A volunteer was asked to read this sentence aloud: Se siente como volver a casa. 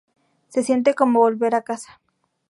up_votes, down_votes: 4, 0